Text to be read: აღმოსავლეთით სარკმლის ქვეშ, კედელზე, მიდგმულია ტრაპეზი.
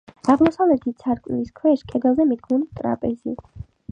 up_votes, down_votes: 2, 0